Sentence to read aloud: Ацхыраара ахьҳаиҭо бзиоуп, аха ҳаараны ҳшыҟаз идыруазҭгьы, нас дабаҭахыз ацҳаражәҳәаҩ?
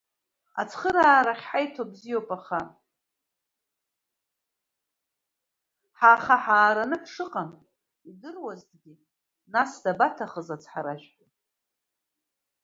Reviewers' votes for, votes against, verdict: 1, 2, rejected